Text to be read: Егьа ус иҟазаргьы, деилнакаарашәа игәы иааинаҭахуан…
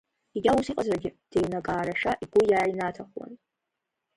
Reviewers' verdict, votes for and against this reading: rejected, 1, 2